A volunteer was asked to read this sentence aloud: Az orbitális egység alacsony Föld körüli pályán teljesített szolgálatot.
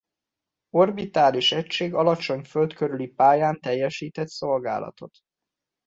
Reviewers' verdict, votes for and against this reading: accepted, 2, 1